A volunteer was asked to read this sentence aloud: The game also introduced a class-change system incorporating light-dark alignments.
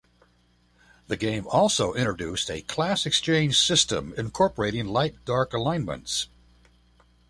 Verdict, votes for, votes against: rejected, 0, 2